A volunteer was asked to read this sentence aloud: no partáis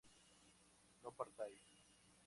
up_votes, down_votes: 2, 0